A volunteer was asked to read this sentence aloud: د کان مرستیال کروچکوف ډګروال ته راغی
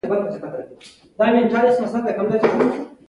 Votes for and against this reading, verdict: 2, 0, accepted